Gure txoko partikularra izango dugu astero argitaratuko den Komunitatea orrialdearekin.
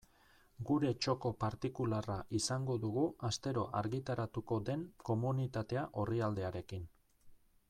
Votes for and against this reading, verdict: 2, 1, accepted